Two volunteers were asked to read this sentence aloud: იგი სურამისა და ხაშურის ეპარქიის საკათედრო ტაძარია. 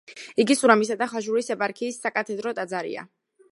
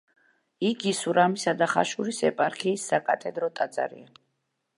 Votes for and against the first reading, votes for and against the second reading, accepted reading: 0, 2, 2, 0, second